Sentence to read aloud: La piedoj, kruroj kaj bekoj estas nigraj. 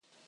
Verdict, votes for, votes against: rejected, 0, 2